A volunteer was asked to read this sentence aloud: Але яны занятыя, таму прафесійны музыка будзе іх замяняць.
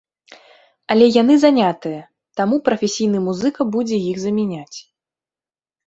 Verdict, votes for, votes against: accepted, 2, 0